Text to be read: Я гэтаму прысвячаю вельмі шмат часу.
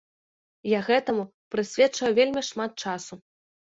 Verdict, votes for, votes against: rejected, 1, 2